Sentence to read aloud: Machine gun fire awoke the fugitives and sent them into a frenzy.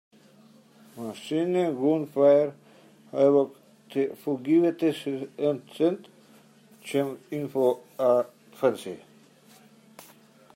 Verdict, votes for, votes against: rejected, 1, 2